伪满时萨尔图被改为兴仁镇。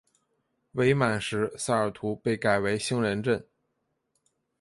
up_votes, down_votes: 2, 0